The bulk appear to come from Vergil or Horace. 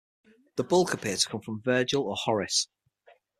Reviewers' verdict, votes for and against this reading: accepted, 6, 0